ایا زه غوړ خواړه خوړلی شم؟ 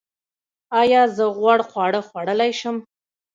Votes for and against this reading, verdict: 0, 2, rejected